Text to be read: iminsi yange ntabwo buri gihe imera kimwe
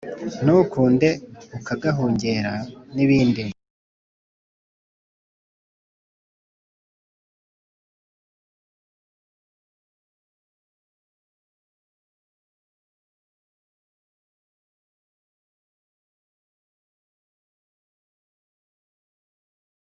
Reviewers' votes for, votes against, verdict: 0, 2, rejected